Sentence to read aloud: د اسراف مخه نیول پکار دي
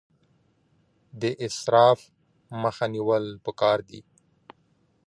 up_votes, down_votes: 2, 1